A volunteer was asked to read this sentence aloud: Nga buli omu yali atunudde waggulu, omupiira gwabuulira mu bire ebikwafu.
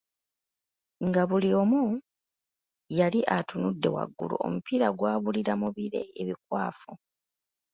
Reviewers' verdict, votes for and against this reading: accepted, 2, 0